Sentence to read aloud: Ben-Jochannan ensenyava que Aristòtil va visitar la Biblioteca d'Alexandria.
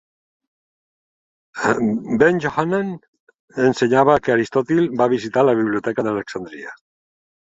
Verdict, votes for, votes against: rejected, 1, 2